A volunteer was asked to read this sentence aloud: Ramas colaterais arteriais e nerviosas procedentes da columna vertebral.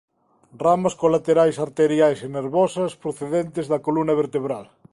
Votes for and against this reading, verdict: 2, 3, rejected